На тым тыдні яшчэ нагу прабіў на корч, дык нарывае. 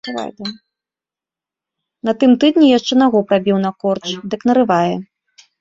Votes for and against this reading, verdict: 0, 2, rejected